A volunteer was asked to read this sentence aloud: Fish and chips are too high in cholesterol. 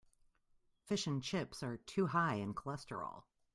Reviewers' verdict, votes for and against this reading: accepted, 2, 0